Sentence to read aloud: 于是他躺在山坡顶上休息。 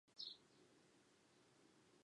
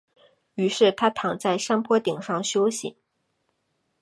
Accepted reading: second